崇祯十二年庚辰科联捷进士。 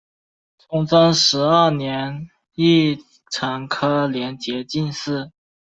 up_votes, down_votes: 1, 2